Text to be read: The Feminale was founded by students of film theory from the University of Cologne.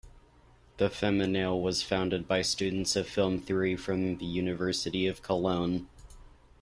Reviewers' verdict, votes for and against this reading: accepted, 2, 0